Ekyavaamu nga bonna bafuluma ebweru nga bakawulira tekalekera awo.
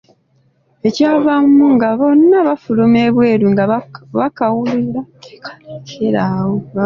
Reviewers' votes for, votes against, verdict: 0, 2, rejected